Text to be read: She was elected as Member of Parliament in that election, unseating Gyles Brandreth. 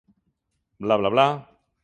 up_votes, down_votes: 0, 2